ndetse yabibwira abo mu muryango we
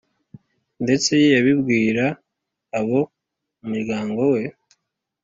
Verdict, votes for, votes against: accepted, 2, 0